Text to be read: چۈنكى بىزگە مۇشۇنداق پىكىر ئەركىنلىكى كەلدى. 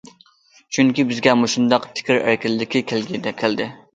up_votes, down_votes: 0, 2